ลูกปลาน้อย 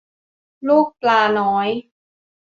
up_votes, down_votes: 2, 0